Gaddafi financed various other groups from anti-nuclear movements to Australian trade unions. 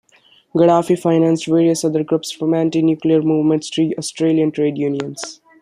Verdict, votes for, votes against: accepted, 2, 0